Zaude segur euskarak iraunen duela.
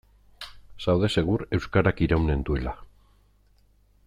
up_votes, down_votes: 2, 0